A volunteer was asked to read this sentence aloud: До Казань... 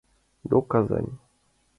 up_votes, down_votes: 2, 0